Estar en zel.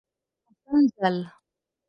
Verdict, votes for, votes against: rejected, 2, 4